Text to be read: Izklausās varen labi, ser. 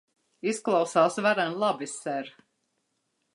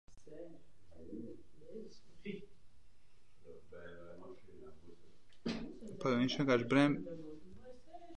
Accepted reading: first